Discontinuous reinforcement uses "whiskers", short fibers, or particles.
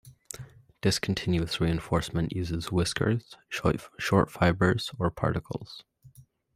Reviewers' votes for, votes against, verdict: 2, 0, accepted